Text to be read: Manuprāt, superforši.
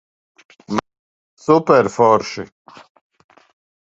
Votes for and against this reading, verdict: 0, 2, rejected